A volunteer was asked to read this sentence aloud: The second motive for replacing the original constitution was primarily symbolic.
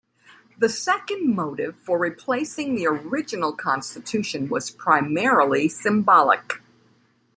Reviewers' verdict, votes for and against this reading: accepted, 2, 0